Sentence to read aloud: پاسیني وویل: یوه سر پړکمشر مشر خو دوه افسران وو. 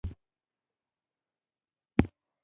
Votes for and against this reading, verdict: 1, 2, rejected